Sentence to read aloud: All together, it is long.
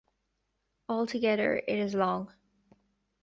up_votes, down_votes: 2, 0